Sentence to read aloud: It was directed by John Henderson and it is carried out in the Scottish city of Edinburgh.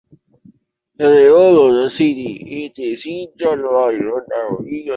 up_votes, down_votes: 0, 2